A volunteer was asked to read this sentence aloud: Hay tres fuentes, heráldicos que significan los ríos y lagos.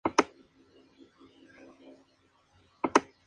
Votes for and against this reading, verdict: 0, 2, rejected